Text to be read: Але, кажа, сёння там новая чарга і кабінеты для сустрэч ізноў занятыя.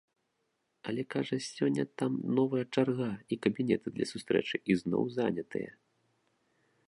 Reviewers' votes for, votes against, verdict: 1, 2, rejected